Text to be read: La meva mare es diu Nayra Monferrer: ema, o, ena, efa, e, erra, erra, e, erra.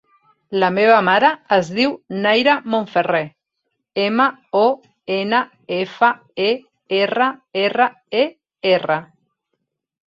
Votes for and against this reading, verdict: 3, 0, accepted